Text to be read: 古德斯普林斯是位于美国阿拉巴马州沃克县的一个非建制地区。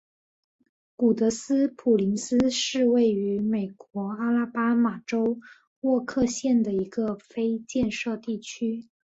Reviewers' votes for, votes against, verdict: 4, 0, accepted